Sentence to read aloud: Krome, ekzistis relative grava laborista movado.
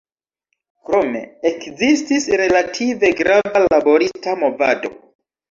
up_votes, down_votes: 1, 2